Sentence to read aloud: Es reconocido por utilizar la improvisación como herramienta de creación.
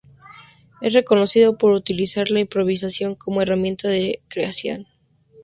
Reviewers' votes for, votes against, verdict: 4, 0, accepted